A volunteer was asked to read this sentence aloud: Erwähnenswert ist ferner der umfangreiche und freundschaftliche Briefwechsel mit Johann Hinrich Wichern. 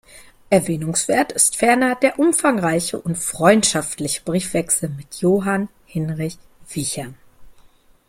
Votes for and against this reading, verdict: 0, 2, rejected